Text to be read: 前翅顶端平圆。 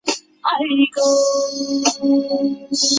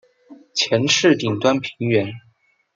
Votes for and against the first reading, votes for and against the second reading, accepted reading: 1, 3, 2, 0, second